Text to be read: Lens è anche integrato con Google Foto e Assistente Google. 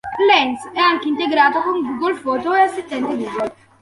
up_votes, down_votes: 2, 0